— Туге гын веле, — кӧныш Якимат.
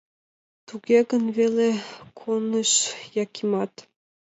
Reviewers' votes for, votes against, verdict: 1, 2, rejected